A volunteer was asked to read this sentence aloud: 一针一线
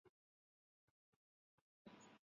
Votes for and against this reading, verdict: 4, 5, rejected